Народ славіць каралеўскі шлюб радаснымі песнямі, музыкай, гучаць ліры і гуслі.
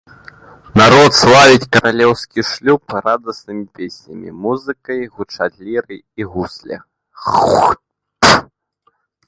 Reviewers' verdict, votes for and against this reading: rejected, 0, 2